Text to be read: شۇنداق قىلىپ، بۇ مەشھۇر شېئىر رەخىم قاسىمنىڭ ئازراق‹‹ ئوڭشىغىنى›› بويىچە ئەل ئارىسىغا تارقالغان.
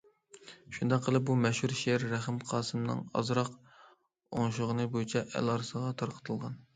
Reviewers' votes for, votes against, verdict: 0, 2, rejected